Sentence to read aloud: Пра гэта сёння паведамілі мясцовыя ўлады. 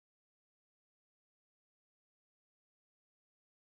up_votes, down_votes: 0, 2